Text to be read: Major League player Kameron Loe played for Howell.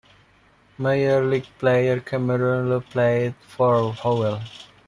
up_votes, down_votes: 1, 2